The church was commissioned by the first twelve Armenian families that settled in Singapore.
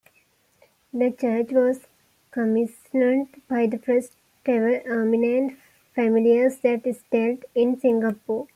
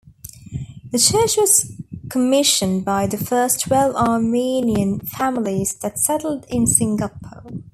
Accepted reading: second